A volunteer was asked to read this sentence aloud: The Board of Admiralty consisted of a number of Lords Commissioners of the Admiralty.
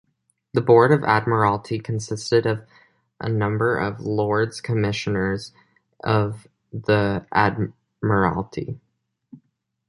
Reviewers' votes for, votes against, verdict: 1, 2, rejected